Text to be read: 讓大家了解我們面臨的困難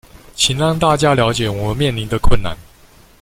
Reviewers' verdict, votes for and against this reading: rejected, 0, 2